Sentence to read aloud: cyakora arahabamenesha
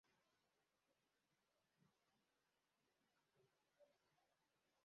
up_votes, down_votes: 0, 2